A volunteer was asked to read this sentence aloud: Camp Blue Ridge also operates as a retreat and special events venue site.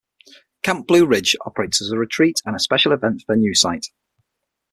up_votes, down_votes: 0, 6